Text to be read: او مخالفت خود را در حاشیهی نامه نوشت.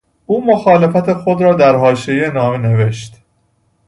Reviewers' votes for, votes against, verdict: 2, 0, accepted